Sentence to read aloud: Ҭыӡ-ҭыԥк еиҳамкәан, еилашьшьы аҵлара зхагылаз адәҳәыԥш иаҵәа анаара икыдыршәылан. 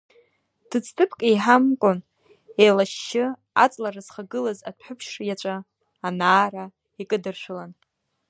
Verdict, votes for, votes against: rejected, 0, 2